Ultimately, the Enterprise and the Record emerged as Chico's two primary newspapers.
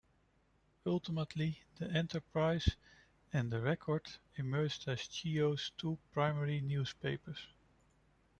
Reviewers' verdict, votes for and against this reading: rejected, 0, 2